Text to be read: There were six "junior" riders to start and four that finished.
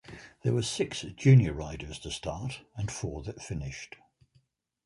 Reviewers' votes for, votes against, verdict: 2, 1, accepted